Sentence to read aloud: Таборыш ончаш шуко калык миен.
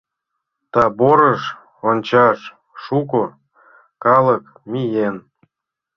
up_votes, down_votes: 1, 2